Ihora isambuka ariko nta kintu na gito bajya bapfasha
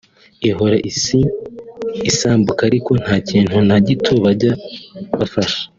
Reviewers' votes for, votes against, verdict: 1, 2, rejected